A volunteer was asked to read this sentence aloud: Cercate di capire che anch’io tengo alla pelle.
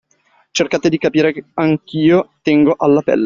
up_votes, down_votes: 2, 1